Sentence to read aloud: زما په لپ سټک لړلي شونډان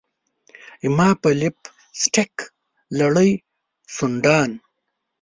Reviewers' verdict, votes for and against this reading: rejected, 0, 2